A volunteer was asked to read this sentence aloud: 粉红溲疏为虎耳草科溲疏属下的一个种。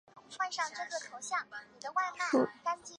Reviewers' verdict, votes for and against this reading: accepted, 3, 1